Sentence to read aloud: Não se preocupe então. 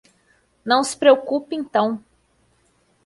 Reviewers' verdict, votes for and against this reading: accepted, 2, 0